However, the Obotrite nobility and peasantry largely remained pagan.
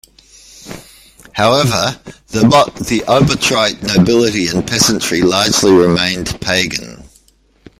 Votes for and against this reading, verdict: 0, 2, rejected